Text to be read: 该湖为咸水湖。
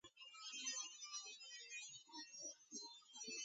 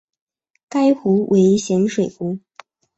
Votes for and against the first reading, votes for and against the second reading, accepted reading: 0, 2, 3, 0, second